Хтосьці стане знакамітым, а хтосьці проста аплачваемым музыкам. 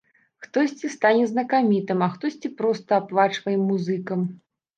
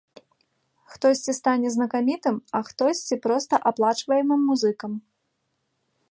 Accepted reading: second